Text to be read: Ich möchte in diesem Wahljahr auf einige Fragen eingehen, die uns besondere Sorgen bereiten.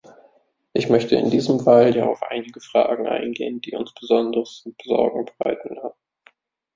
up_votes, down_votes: 0, 2